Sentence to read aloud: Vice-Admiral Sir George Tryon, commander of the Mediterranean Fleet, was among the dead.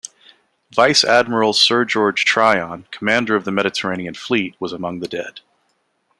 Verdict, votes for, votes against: accepted, 2, 0